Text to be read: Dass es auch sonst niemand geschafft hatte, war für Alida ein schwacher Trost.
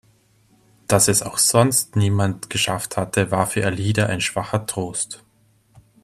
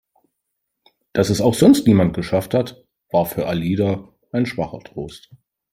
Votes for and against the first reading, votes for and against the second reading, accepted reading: 2, 0, 1, 3, first